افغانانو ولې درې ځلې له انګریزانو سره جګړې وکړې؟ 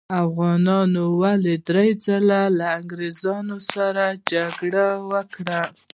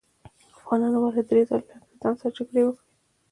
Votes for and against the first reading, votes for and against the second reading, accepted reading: 1, 2, 2, 1, second